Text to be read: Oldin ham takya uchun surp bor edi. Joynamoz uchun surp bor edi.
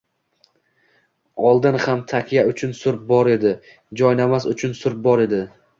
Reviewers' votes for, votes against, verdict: 2, 0, accepted